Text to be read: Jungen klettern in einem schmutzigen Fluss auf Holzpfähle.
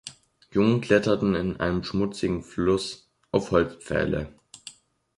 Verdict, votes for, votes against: rejected, 1, 2